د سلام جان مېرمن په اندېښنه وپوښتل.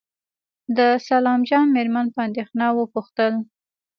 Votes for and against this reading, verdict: 2, 1, accepted